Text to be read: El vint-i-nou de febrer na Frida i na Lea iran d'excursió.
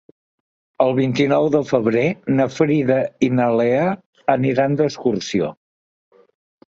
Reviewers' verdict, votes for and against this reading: rejected, 0, 2